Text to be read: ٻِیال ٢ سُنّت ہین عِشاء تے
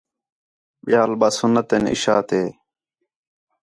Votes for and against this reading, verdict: 0, 2, rejected